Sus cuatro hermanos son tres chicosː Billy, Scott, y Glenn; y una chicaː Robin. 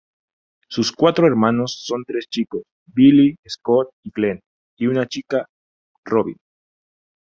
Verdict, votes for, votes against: accepted, 2, 0